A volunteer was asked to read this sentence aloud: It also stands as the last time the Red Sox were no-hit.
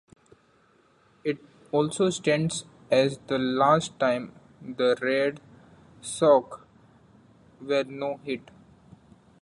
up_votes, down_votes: 0, 2